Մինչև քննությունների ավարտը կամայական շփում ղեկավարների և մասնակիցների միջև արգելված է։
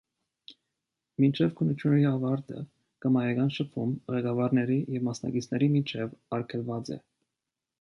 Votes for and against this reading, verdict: 2, 0, accepted